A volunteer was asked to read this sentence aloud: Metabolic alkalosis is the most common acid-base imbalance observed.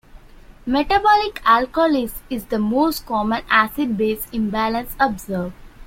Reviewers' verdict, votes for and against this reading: rejected, 0, 2